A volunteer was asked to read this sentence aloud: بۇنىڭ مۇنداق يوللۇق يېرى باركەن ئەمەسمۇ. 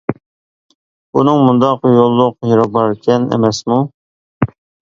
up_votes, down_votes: 2, 1